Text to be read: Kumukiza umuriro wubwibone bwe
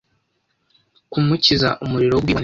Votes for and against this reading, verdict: 0, 2, rejected